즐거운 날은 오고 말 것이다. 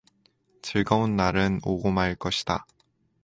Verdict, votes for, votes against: accepted, 4, 0